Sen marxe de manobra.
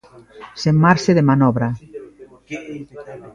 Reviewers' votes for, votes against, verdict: 2, 0, accepted